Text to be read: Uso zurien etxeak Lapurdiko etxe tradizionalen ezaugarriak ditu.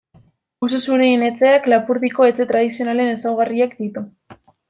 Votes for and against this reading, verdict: 0, 2, rejected